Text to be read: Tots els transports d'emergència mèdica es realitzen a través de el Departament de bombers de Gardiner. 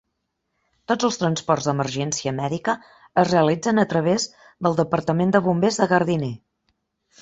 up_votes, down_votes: 1, 2